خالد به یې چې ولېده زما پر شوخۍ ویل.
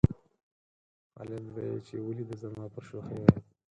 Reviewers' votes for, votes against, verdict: 2, 4, rejected